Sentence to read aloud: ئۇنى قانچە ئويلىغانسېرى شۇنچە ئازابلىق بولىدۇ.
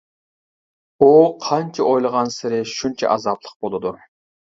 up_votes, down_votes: 1, 2